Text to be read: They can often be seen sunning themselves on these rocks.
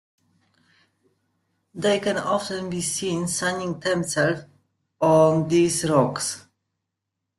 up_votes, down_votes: 2, 1